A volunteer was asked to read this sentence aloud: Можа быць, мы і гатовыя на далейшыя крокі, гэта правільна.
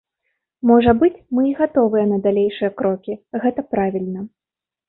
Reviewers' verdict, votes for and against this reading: accepted, 2, 0